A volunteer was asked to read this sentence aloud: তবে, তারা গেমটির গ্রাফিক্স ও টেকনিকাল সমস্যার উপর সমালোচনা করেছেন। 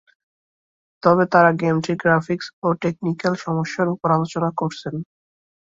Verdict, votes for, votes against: rejected, 1, 3